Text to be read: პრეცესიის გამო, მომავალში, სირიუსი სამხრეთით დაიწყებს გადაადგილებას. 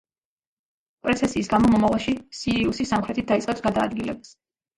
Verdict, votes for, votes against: rejected, 1, 2